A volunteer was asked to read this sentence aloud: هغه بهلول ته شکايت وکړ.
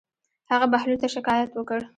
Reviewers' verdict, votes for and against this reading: accepted, 2, 0